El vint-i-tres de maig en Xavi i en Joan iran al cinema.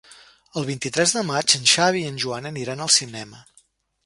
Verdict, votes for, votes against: rejected, 1, 2